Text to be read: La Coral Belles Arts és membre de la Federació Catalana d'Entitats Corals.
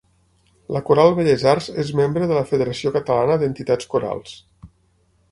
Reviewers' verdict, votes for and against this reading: accepted, 6, 0